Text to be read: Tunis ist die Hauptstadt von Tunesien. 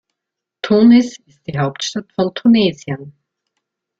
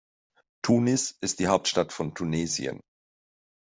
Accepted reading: second